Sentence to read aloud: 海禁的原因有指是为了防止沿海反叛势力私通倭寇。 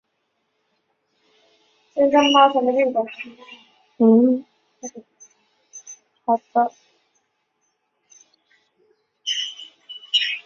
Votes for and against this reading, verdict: 0, 2, rejected